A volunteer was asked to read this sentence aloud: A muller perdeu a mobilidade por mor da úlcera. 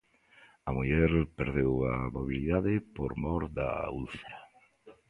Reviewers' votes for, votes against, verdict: 2, 0, accepted